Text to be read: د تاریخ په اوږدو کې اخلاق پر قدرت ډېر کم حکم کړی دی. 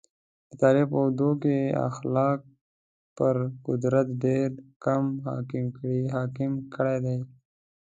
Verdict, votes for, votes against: rejected, 1, 2